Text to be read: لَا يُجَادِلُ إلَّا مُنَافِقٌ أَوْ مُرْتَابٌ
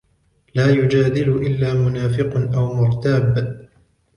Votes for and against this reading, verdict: 2, 1, accepted